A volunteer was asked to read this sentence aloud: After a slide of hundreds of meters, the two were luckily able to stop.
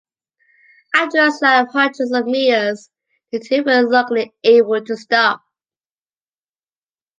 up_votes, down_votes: 2, 1